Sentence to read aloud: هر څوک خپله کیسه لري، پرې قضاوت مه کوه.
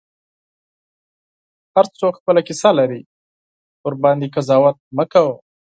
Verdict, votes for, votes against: rejected, 0, 4